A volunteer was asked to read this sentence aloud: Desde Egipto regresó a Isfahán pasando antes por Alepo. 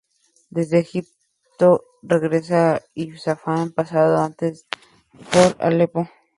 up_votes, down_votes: 2, 0